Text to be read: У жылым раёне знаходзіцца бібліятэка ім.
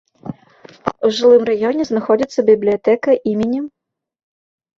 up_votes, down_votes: 1, 2